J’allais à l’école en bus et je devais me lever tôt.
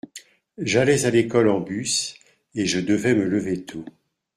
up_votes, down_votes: 2, 0